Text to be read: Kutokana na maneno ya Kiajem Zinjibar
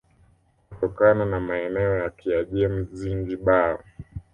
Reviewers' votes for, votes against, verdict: 1, 2, rejected